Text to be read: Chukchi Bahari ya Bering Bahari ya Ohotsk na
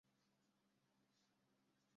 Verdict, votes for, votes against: rejected, 0, 2